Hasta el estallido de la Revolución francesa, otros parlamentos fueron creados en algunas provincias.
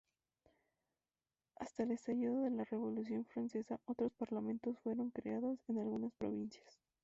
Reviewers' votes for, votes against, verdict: 0, 2, rejected